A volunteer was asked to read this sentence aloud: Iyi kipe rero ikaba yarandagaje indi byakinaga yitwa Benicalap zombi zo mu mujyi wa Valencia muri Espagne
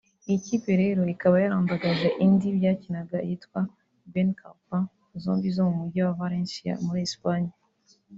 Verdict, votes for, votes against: accepted, 3, 0